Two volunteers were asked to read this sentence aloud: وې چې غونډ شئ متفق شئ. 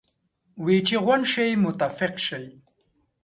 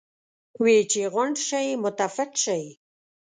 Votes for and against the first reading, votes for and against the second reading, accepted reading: 2, 0, 1, 2, first